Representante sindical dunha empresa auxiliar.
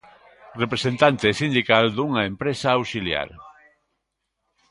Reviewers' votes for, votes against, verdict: 2, 1, accepted